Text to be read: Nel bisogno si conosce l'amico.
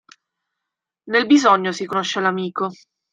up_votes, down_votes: 1, 2